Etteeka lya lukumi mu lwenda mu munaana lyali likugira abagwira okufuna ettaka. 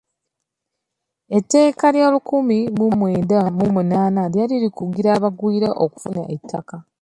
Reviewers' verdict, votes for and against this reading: accepted, 2, 1